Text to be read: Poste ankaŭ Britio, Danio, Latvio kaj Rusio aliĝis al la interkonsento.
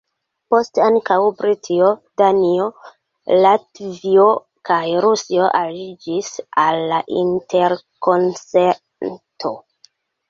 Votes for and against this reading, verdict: 1, 2, rejected